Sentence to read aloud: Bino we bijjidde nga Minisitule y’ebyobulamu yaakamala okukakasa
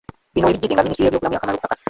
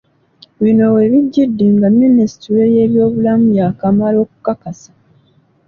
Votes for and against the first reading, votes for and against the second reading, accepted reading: 1, 2, 3, 1, second